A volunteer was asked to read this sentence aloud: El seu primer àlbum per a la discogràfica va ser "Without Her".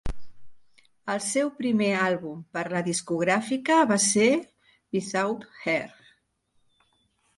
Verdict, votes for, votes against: accepted, 2, 1